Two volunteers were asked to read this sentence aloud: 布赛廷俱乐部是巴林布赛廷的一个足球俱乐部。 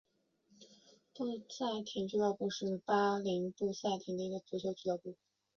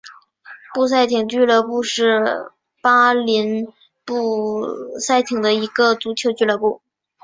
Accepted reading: second